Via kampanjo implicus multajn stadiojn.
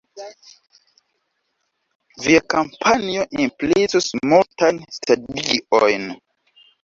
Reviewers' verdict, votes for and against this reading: rejected, 1, 2